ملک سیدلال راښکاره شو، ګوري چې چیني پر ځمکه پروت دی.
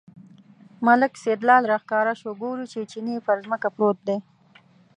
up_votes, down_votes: 2, 0